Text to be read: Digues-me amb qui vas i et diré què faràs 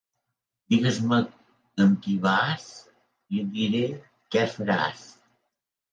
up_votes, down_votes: 2, 0